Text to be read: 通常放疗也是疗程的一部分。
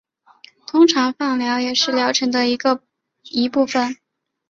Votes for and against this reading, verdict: 0, 2, rejected